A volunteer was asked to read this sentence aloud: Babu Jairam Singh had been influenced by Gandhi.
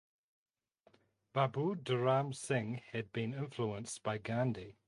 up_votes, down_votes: 0, 2